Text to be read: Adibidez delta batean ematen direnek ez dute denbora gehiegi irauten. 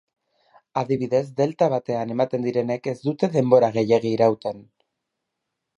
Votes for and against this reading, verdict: 4, 0, accepted